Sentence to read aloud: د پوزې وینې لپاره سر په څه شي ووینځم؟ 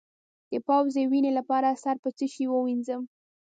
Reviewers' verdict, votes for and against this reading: rejected, 0, 2